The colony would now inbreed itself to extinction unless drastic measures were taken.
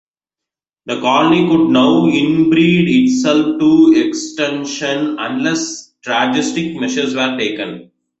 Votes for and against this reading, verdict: 2, 1, accepted